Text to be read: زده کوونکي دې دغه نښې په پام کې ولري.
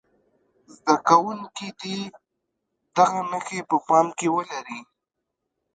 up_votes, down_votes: 1, 2